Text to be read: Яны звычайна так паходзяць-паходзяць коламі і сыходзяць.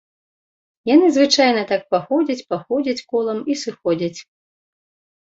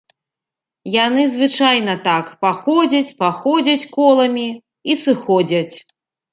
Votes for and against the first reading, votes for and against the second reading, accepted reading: 1, 2, 2, 0, second